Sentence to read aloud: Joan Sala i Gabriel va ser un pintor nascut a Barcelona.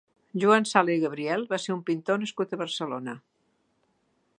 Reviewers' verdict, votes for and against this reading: accepted, 2, 0